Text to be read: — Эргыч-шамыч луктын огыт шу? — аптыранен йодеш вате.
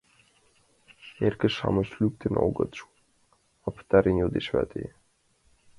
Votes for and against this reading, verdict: 1, 2, rejected